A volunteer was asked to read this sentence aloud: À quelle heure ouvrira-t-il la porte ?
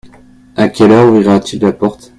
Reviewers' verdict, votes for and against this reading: rejected, 1, 2